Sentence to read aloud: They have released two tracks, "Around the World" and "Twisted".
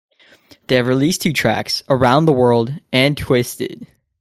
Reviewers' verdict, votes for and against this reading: rejected, 0, 2